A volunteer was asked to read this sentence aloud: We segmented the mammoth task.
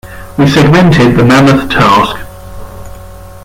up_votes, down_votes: 1, 2